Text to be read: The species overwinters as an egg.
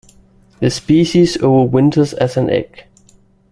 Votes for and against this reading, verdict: 1, 2, rejected